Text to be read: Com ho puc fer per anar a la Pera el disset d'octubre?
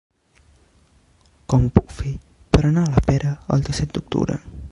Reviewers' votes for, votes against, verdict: 1, 2, rejected